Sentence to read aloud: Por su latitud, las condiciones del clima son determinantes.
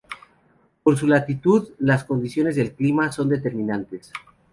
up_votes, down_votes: 2, 0